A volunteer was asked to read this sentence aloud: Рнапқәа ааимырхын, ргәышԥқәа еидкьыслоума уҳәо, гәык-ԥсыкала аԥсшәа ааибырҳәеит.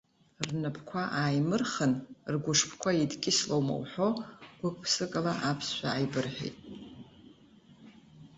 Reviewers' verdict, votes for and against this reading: accepted, 2, 0